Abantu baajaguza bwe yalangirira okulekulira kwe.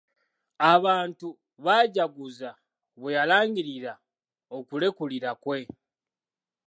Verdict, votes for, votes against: rejected, 1, 2